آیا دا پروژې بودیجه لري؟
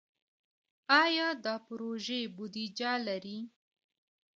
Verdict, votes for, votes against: rejected, 0, 2